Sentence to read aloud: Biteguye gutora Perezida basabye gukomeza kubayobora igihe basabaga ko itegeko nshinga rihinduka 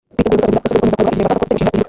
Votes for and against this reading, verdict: 0, 3, rejected